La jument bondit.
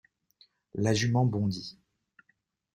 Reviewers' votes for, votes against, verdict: 2, 0, accepted